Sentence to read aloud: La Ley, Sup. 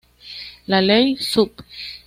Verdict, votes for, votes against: rejected, 1, 2